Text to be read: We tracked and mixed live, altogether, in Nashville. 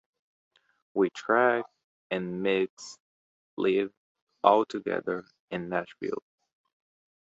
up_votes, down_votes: 1, 3